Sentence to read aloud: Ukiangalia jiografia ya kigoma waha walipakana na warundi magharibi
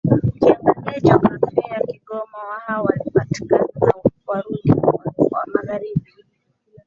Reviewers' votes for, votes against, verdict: 1, 2, rejected